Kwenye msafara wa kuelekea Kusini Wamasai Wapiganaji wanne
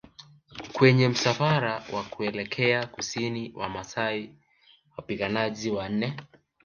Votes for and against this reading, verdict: 1, 2, rejected